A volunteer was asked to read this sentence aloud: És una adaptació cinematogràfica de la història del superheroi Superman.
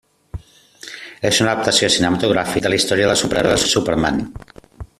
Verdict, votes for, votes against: rejected, 0, 2